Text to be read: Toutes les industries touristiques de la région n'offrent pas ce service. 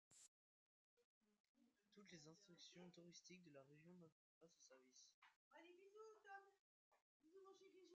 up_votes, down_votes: 0, 2